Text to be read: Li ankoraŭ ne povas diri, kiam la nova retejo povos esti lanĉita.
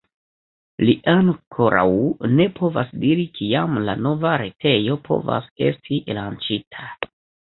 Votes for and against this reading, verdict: 1, 2, rejected